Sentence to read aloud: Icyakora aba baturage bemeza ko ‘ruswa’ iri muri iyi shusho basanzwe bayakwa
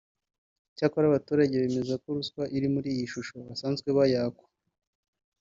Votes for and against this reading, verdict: 0, 2, rejected